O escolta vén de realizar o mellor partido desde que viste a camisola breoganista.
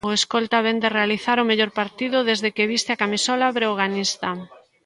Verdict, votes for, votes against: rejected, 0, 2